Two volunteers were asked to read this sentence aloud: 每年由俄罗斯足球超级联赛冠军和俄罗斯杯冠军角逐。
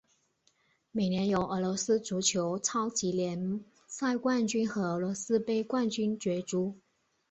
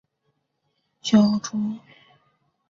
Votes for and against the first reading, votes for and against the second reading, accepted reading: 2, 0, 0, 3, first